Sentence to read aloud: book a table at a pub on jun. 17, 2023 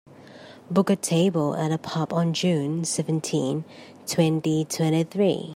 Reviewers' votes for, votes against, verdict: 0, 2, rejected